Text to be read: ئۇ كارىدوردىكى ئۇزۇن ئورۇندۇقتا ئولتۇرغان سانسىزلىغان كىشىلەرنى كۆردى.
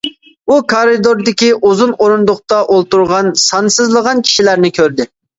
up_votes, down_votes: 2, 0